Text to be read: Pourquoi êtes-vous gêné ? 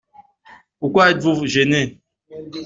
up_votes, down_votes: 0, 2